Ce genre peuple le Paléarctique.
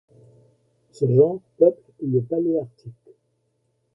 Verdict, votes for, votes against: rejected, 0, 2